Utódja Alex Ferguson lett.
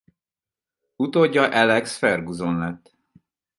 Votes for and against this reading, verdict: 2, 4, rejected